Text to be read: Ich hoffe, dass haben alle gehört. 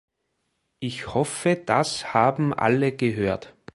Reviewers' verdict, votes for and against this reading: accepted, 2, 0